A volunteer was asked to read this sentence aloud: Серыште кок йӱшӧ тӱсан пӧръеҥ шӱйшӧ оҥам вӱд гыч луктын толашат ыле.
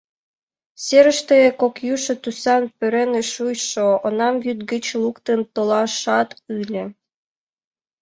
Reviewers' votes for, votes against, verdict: 1, 2, rejected